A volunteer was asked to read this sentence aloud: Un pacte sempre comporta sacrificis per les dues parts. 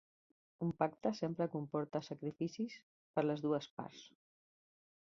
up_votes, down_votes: 3, 0